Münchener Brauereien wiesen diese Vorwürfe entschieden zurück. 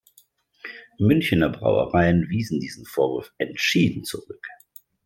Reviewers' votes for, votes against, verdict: 1, 2, rejected